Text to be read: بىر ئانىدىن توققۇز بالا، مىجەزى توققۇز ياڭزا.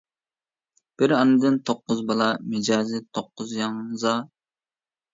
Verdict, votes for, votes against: rejected, 1, 2